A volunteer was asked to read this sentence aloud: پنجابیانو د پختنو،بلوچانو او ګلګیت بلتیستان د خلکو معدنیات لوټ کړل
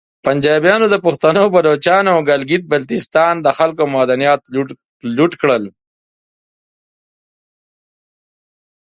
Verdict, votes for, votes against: accepted, 4, 0